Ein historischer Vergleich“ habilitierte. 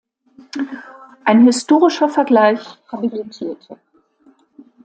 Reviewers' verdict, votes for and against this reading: accepted, 2, 0